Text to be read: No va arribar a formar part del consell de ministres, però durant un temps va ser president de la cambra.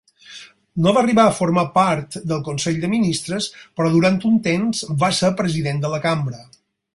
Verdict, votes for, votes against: accepted, 6, 0